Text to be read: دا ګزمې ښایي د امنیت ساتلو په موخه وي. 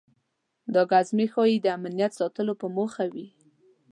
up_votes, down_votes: 2, 0